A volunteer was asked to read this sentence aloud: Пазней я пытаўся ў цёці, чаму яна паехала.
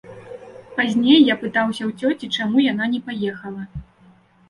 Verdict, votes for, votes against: rejected, 0, 2